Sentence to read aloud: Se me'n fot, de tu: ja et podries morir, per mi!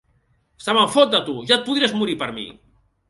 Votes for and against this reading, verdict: 2, 0, accepted